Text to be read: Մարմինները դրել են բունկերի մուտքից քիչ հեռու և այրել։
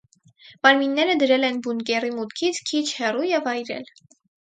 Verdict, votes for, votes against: accepted, 4, 0